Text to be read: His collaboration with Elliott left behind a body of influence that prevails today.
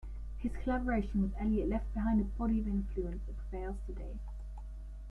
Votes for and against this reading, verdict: 1, 3, rejected